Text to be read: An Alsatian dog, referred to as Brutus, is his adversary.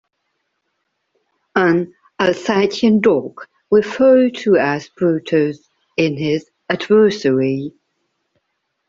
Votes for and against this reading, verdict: 2, 1, accepted